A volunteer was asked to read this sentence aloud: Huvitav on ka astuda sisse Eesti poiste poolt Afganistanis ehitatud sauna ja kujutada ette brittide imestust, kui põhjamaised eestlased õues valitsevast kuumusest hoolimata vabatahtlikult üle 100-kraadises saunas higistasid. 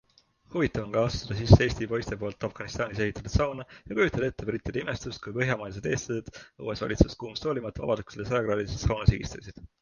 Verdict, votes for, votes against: rejected, 0, 2